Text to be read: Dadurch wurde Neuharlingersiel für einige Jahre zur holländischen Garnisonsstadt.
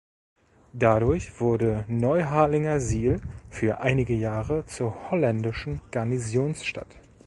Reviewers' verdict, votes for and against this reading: rejected, 0, 2